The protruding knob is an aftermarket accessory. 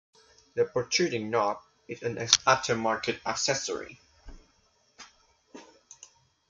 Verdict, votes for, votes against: accepted, 2, 1